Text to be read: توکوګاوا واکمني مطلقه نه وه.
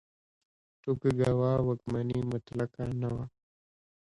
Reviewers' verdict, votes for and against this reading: accepted, 2, 1